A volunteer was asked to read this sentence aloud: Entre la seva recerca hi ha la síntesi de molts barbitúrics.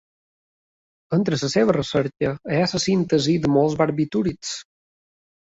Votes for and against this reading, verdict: 1, 2, rejected